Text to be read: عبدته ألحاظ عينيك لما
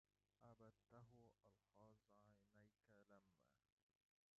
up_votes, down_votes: 0, 2